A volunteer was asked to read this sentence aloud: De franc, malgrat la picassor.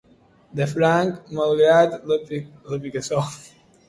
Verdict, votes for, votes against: rejected, 0, 2